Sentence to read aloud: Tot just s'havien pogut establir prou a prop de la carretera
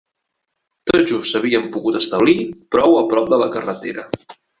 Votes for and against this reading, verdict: 2, 0, accepted